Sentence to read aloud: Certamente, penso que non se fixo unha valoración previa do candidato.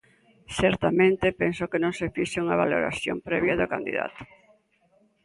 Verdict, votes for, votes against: accepted, 2, 0